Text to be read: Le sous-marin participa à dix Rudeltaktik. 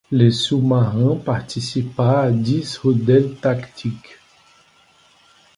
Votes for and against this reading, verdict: 2, 0, accepted